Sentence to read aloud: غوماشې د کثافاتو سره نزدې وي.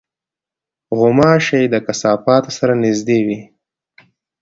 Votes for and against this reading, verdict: 2, 0, accepted